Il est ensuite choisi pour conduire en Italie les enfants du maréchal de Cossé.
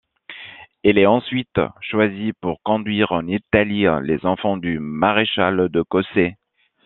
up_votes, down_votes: 2, 1